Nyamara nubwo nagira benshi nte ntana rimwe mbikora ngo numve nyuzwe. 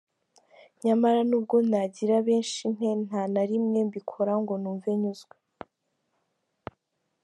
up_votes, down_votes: 3, 0